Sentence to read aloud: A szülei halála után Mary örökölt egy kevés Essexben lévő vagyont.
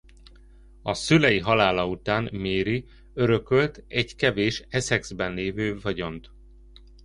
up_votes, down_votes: 2, 0